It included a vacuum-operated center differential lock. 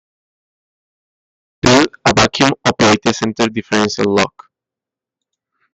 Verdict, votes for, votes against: rejected, 1, 2